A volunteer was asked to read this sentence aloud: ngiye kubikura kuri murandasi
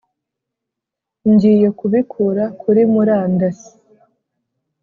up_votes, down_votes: 2, 0